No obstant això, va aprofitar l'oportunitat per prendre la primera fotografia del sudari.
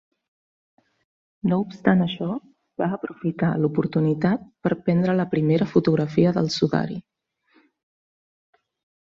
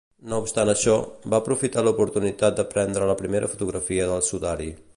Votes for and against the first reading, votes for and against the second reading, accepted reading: 2, 0, 1, 2, first